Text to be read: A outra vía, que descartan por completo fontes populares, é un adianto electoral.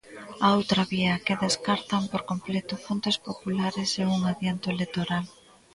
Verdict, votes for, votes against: rejected, 1, 2